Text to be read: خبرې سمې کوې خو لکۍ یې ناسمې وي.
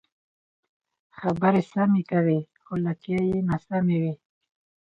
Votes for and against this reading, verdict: 4, 0, accepted